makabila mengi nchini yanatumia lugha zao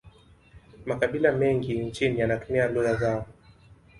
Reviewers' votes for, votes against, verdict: 6, 0, accepted